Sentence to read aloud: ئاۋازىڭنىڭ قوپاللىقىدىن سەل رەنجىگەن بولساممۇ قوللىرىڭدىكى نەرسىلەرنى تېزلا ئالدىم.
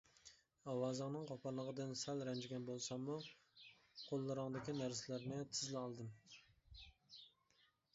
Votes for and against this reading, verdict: 1, 2, rejected